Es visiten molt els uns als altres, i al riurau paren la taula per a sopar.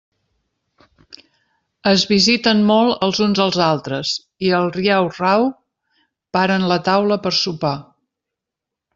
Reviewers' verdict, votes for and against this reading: rejected, 0, 2